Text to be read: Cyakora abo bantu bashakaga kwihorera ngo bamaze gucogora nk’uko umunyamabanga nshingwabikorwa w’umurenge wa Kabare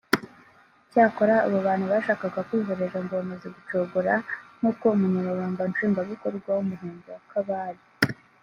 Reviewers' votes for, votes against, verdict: 0, 2, rejected